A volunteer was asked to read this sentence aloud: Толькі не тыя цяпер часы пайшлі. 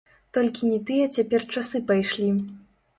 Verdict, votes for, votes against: rejected, 1, 2